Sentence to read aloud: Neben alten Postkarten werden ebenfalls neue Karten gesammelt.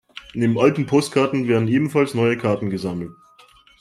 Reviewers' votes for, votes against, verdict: 2, 1, accepted